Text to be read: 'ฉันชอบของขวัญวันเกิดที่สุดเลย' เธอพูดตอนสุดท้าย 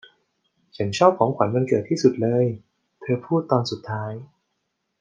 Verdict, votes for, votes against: accepted, 2, 0